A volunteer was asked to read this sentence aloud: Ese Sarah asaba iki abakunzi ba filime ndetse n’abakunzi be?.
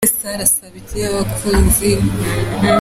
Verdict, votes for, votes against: rejected, 0, 2